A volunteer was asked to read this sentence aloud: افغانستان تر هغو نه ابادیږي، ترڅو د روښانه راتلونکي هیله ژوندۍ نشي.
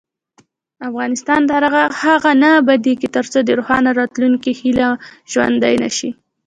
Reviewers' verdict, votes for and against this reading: rejected, 0, 2